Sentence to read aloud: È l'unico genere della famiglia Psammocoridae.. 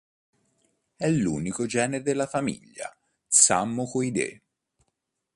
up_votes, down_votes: 2, 3